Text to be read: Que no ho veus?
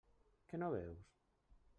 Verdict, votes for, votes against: rejected, 0, 2